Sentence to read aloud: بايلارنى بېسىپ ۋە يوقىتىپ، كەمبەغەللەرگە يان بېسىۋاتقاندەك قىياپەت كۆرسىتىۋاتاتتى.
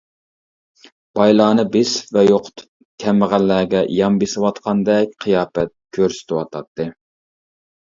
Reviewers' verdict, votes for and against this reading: rejected, 1, 2